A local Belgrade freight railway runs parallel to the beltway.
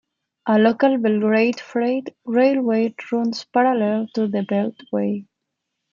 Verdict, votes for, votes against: accepted, 2, 1